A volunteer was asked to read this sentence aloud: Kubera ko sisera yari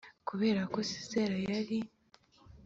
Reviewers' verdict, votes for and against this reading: accepted, 4, 0